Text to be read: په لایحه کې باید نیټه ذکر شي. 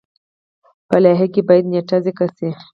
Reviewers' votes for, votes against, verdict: 4, 0, accepted